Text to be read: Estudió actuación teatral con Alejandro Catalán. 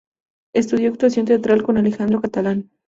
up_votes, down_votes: 0, 2